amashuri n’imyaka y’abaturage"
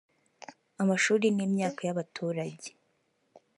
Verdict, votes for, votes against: accepted, 2, 0